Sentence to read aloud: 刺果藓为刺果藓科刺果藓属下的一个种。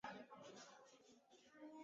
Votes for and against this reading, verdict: 1, 2, rejected